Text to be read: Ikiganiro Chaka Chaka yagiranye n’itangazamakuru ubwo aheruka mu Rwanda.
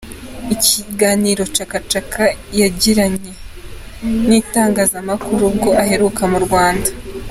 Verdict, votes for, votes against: accepted, 2, 1